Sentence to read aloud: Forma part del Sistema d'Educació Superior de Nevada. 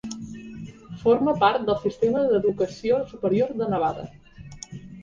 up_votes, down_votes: 3, 0